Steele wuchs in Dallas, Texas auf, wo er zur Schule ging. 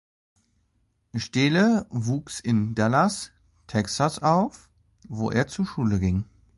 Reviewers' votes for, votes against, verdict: 2, 0, accepted